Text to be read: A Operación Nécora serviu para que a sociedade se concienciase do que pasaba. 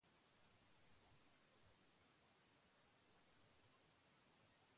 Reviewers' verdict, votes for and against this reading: rejected, 0, 2